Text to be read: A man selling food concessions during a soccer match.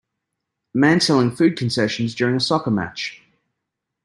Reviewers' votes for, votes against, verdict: 2, 1, accepted